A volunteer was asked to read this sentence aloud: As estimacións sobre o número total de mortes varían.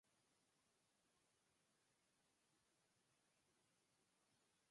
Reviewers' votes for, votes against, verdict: 2, 4, rejected